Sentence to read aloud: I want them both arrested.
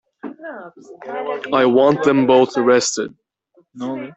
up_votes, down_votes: 0, 2